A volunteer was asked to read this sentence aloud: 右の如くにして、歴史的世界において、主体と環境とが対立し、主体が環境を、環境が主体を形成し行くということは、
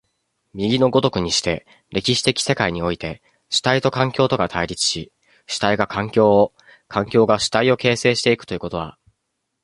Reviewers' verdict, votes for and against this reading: accepted, 2, 1